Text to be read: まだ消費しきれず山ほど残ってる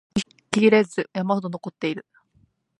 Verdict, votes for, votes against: rejected, 1, 2